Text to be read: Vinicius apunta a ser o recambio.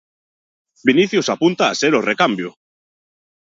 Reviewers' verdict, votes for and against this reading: accepted, 2, 0